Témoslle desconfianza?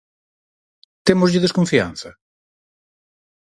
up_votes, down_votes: 4, 0